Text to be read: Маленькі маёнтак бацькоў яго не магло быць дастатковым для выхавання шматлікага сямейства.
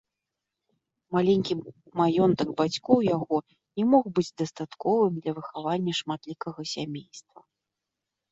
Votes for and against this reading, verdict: 0, 2, rejected